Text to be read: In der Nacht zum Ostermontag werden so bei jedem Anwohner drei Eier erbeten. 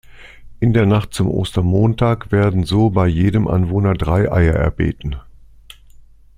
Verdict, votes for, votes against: accepted, 2, 0